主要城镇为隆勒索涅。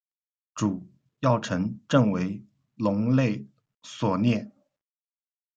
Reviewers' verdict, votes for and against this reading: rejected, 0, 2